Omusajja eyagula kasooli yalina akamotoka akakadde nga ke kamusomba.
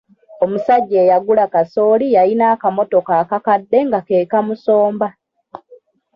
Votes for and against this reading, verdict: 2, 1, accepted